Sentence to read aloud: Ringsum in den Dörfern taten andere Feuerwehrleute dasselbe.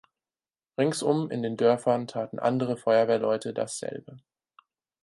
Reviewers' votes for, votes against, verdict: 4, 0, accepted